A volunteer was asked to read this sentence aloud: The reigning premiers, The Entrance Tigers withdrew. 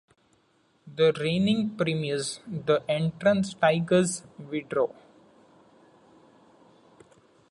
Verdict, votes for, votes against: accepted, 2, 0